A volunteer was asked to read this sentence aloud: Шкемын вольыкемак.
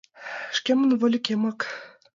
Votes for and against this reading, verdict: 2, 1, accepted